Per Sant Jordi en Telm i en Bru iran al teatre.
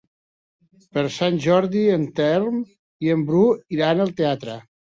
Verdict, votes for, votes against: accepted, 3, 1